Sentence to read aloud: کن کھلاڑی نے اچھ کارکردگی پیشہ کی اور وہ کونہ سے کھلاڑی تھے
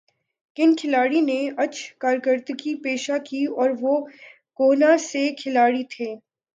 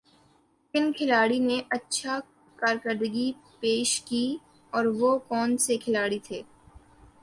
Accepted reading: first